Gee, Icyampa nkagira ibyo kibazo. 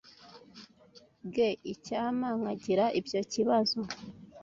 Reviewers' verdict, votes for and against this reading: accepted, 2, 1